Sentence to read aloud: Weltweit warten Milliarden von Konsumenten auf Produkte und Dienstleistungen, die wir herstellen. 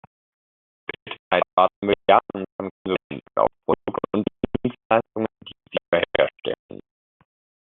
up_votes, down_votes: 0, 2